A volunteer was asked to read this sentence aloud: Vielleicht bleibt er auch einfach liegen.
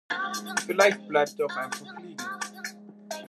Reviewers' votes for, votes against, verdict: 1, 2, rejected